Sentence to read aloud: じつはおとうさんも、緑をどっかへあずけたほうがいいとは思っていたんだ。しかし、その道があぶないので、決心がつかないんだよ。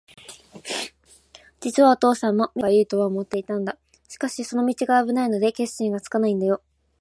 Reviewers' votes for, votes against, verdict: 1, 2, rejected